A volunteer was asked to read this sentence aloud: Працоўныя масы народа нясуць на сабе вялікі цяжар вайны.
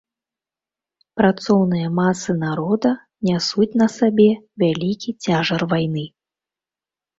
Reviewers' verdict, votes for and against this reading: rejected, 1, 2